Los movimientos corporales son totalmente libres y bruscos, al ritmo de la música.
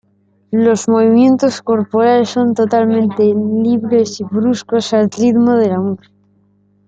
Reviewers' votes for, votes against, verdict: 1, 3, rejected